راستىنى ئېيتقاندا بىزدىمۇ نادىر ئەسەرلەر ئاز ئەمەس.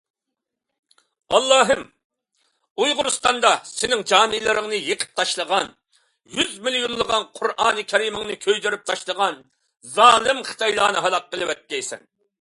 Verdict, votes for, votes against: rejected, 0, 2